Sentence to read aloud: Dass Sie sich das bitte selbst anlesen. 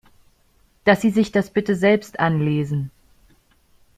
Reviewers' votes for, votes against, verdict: 2, 0, accepted